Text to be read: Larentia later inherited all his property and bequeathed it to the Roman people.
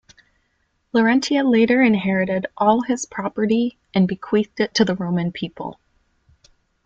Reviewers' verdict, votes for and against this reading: accepted, 2, 0